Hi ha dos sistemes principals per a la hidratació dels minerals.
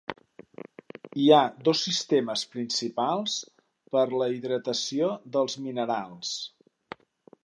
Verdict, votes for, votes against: rejected, 0, 3